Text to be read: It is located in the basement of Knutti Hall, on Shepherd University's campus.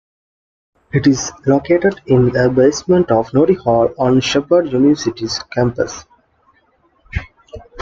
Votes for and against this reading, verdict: 1, 2, rejected